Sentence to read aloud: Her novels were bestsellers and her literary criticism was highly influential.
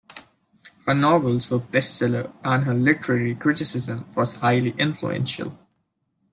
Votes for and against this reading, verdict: 2, 1, accepted